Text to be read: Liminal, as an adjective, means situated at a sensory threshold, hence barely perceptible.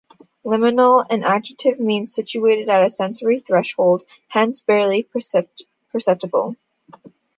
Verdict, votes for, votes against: rejected, 1, 2